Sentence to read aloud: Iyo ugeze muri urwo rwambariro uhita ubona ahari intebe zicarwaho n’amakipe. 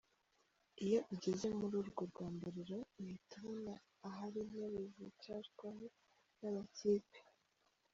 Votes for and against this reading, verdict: 0, 2, rejected